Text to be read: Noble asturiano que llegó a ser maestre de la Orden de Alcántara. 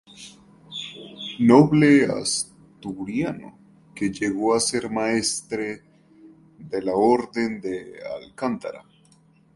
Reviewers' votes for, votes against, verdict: 0, 2, rejected